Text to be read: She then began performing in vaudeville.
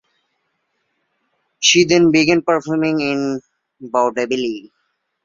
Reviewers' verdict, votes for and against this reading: accepted, 2, 1